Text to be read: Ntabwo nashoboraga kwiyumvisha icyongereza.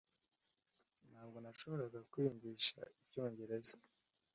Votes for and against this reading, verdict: 2, 0, accepted